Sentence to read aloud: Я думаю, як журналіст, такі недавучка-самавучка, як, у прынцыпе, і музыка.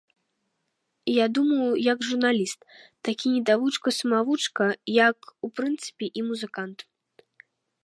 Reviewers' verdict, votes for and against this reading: rejected, 1, 2